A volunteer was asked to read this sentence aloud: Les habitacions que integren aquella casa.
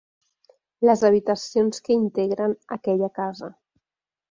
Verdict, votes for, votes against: accepted, 3, 0